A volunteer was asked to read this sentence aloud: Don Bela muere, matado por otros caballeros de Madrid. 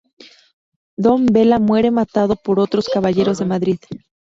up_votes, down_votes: 4, 0